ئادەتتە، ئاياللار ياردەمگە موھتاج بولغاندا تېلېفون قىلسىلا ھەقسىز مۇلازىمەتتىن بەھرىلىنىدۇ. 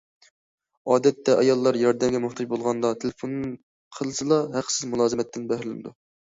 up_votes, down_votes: 2, 0